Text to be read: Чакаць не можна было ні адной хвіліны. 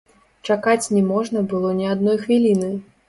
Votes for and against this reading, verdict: 1, 2, rejected